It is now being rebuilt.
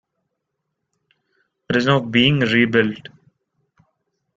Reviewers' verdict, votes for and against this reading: accepted, 2, 0